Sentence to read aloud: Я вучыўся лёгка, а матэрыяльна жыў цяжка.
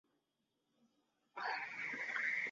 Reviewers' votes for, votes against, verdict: 0, 2, rejected